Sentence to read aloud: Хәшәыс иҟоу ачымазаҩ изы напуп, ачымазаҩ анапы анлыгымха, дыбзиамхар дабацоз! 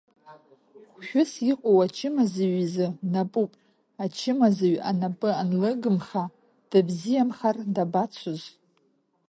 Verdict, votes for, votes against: rejected, 1, 2